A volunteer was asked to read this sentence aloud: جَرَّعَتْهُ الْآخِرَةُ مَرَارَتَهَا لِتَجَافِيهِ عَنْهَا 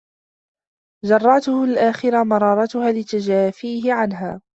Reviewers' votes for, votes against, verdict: 1, 2, rejected